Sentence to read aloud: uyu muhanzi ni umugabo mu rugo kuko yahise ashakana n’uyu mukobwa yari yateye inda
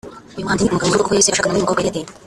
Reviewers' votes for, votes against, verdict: 1, 2, rejected